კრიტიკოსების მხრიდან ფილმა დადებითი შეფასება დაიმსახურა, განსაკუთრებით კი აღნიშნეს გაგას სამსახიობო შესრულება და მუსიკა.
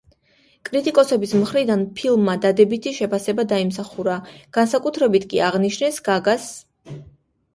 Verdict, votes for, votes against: rejected, 0, 2